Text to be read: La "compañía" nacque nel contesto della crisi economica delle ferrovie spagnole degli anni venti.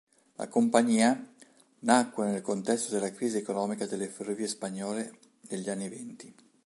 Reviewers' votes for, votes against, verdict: 2, 1, accepted